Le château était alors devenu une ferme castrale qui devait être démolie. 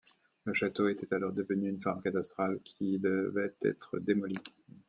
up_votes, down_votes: 1, 2